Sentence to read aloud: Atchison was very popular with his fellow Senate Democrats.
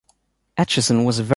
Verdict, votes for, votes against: rejected, 0, 2